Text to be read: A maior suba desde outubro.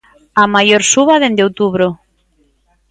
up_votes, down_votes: 1, 2